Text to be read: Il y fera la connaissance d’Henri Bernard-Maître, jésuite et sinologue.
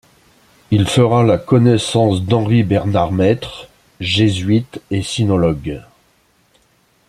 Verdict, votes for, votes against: accepted, 2, 1